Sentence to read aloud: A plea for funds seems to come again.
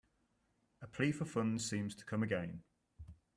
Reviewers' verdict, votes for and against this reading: accepted, 2, 1